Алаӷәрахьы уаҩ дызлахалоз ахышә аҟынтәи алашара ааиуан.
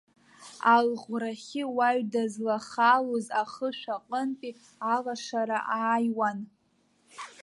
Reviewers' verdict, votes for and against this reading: rejected, 1, 2